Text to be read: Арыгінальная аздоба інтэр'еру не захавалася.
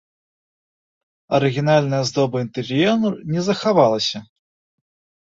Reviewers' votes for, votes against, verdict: 1, 2, rejected